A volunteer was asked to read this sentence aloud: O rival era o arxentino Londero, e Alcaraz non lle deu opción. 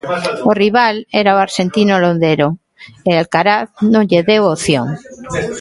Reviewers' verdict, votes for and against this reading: rejected, 1, 2